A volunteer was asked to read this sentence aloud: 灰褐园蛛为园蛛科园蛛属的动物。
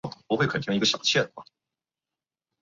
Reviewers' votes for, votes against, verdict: 3, 4, rejected